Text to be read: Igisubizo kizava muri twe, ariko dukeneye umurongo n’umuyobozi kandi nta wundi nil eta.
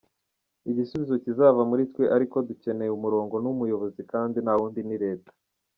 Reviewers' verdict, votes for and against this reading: rejected, 0, 2